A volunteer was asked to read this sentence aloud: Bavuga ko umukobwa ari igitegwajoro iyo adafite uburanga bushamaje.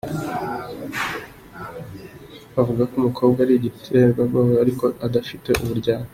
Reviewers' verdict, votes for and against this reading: rejected, 0, 3